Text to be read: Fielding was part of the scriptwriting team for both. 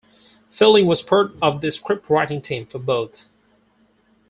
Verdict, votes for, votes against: accepted, 4, 0